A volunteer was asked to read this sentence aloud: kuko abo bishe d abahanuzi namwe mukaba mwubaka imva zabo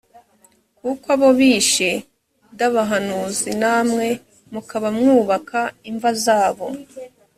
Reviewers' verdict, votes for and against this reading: accepted, 2, 0